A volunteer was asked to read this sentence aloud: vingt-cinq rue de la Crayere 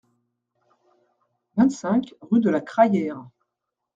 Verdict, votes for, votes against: accepted, 2, 0